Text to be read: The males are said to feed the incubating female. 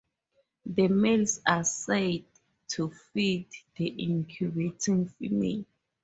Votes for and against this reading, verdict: 4, 0, accepted